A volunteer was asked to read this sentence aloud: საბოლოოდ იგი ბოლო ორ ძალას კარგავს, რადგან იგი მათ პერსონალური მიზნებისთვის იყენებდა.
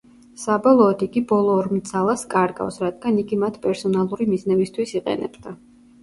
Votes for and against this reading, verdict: 2, 1, accepted